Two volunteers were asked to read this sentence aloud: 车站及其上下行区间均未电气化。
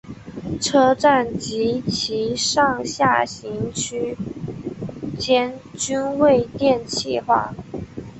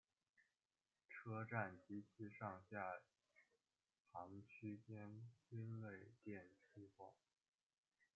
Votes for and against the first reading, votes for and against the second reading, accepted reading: 2, 0, 1, 2, first